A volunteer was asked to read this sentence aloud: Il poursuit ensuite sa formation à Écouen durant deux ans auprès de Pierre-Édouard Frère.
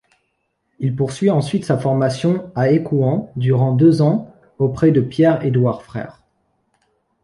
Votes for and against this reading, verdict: 2, 0, accepted